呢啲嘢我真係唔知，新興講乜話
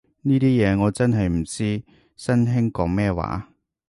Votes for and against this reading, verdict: 1, 3, rejected